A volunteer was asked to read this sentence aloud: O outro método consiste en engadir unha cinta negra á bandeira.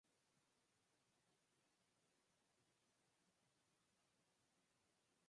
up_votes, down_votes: 0, 4